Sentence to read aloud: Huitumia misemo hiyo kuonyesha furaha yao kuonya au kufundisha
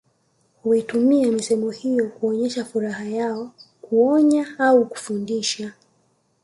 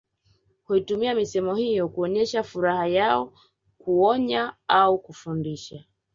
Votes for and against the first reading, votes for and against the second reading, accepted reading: 2, 0, 0, 2, first